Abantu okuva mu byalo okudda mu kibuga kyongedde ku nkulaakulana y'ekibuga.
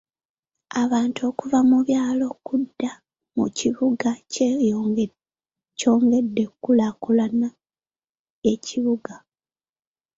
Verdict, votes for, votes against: rejected, 1, 2